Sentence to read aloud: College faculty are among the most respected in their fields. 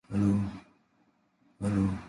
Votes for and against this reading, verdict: 0, 2, rejected